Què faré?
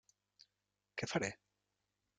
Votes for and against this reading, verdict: 3, 0, accepted